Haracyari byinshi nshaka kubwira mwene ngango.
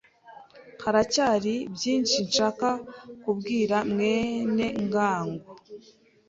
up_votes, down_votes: 3, 0